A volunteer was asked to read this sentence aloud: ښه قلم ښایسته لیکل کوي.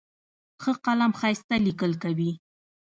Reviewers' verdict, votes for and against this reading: rejected, 1, 2